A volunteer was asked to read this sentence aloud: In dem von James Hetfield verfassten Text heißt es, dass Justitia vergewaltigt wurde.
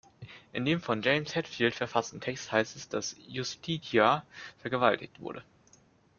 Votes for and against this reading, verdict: 2, 1, accepted